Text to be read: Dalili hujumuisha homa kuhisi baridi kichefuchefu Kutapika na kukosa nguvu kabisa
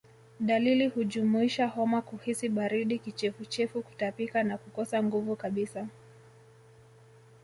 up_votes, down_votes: 0, 2